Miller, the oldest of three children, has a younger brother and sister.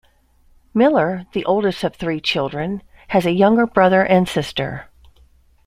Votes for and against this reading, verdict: 2, 0, accepted